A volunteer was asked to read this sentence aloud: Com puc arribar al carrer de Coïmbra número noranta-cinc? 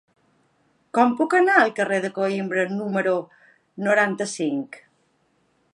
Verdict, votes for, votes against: rejected, 1, 2